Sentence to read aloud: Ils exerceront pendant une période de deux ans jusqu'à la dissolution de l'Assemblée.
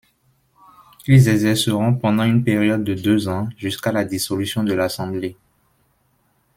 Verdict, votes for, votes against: accepted, 2, 0